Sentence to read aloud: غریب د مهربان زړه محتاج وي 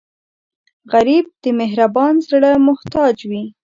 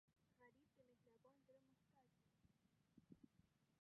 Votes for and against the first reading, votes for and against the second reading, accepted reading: 2, 0, 0, 2, first